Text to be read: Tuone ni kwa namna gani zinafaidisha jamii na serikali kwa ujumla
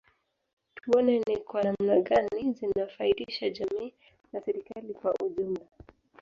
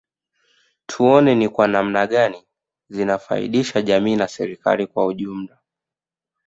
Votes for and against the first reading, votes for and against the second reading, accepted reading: 1, 2, 2, 0, second